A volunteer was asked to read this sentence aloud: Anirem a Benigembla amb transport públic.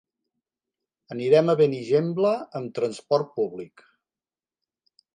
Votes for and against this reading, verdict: 6, 0, accepted